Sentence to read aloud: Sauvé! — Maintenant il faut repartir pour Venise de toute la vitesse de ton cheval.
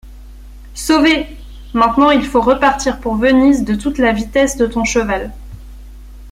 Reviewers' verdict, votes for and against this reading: accepted, 2, 0